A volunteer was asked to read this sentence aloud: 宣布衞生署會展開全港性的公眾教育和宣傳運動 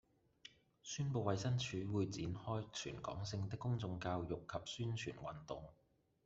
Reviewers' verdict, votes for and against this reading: rejected, 0, 2